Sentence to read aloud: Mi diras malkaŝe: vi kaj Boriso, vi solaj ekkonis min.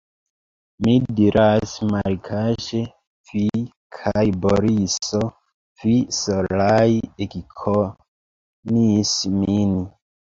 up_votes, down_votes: 0, 2